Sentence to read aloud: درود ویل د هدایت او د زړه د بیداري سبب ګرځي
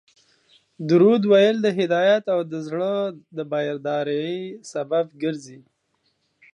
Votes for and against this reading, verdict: 1, 2, rejected